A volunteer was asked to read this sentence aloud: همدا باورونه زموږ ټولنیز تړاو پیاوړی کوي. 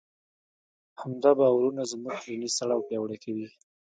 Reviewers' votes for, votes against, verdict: 0, 2, rejected